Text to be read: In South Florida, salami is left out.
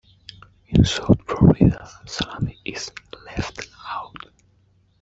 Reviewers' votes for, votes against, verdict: 2, 0, accepted